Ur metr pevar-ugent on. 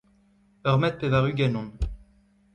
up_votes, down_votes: 2, 0